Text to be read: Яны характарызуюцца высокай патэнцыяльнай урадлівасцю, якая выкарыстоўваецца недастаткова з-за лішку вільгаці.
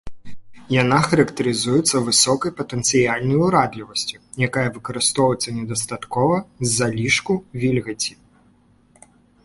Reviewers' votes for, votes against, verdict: 1, 3, rejected